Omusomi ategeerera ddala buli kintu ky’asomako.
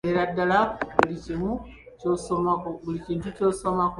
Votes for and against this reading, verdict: 0, 2, rejected